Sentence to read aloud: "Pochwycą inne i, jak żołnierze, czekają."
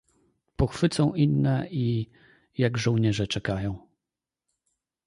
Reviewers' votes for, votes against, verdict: 2, 0, accepted